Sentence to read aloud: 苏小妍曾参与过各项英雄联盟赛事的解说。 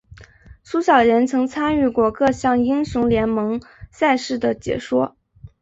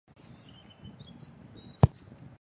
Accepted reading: first